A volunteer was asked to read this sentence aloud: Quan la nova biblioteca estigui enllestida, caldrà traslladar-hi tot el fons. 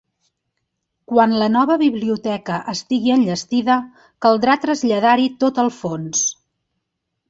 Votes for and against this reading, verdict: 3, 0, accepted